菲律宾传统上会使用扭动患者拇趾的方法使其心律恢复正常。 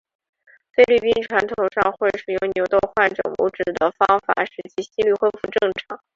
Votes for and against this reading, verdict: 1, 2, rejected